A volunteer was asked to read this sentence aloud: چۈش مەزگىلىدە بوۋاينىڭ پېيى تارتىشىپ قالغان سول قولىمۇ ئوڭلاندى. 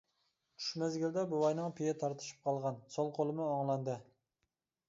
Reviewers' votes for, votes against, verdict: 2, 1, accepted